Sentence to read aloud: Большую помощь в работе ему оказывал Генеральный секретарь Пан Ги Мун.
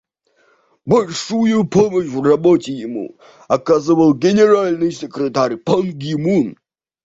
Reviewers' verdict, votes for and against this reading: accepted, 2, 0